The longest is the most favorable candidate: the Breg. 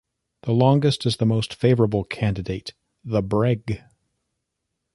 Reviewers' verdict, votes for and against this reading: accepted, 2, 0